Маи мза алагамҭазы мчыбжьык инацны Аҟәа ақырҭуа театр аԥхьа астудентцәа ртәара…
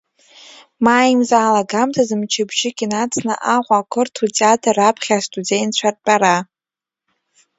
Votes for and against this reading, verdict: 2, 1, accepted